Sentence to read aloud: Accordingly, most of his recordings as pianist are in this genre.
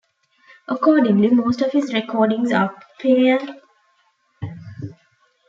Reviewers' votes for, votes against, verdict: 0, 2, rejected